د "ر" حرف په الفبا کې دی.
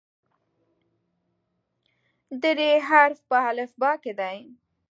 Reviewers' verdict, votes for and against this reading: rejected, 1, 2